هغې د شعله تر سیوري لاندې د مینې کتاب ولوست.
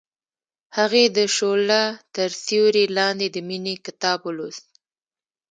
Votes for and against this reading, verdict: 1, 2, rejected